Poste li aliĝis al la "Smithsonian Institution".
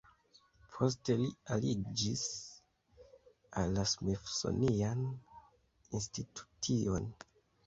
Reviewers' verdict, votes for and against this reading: accepted, 2, 0